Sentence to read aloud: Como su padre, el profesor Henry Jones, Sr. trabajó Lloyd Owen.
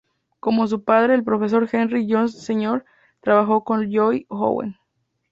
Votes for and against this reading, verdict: 0, 2, rejected